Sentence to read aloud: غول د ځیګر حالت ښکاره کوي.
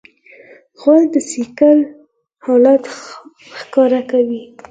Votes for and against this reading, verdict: 4, 2, accepted